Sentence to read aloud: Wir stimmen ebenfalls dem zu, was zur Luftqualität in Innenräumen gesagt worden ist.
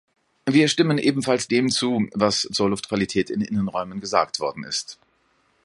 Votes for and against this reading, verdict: 2, 0, accepted